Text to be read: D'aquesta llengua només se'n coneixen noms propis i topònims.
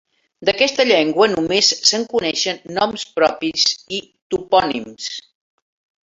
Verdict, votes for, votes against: accepted, 3, 0